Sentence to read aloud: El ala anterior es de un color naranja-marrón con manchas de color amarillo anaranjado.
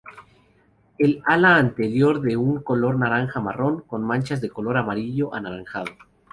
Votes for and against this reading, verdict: 0, 2, rejected